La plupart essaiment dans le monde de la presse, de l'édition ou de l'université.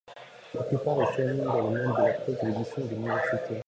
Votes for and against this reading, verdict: 0, 2, rejected